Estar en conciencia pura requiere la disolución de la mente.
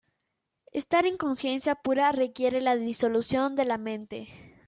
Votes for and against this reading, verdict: 2, 0, accepted